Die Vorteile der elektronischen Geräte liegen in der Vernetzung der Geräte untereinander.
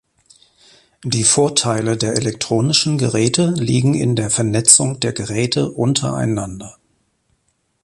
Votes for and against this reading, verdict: 2, 0, accepted